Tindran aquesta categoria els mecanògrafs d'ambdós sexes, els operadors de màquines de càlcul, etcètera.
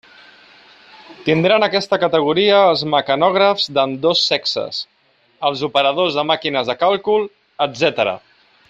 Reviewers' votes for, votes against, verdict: 2, 0, accepted